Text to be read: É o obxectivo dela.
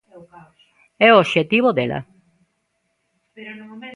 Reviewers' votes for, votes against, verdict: 2, 1, accepted